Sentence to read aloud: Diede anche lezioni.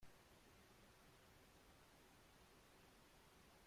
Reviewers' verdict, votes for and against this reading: rejected, 0, 2